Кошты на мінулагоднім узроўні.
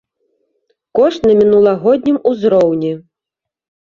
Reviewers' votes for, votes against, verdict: 2, 1, accepted